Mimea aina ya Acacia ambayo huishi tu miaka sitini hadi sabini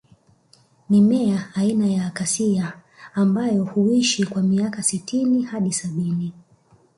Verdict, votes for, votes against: rejected, 1, 2